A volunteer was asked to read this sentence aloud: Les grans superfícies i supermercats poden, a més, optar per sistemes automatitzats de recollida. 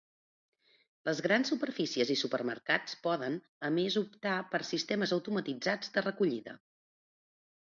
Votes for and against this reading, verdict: 2, 0, accepted